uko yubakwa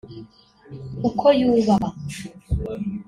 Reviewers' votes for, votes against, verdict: 1, 2, rejected